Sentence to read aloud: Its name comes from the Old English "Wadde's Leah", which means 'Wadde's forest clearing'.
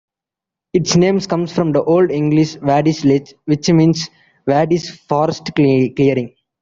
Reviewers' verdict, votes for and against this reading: rejected, 0, 3